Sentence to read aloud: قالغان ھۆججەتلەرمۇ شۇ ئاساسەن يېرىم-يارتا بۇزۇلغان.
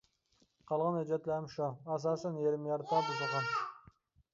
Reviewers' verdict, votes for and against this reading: rejected, 0, 2